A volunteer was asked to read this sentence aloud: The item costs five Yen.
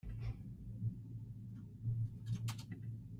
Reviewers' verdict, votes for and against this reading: rejected, 0, 2